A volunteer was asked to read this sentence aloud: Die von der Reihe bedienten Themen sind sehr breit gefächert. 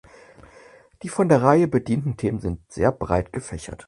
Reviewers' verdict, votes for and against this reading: accepted, 4, 0